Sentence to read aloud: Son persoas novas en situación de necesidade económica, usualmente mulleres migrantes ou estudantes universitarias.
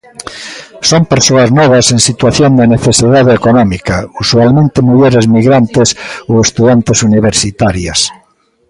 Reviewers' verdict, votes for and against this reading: accepted, 2, 0